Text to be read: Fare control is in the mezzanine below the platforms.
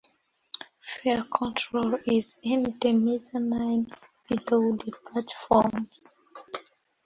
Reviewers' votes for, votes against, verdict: 2, 0, accepted